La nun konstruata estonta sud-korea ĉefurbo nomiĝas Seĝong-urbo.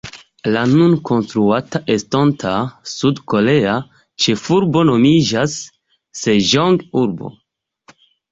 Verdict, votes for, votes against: accepted, 2, 1